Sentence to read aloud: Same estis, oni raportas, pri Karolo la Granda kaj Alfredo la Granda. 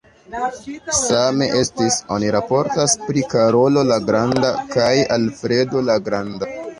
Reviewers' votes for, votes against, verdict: 0, 2, rejected